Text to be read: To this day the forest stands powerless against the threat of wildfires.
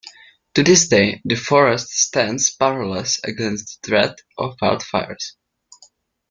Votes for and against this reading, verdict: 0, 2, rejected